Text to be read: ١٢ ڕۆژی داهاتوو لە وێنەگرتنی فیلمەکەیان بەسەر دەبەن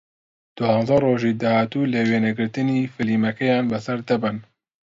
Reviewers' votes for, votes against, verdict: 0, 2, rejected